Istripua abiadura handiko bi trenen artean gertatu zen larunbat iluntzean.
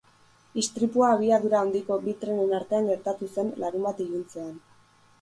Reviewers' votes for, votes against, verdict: 6, 0, accepted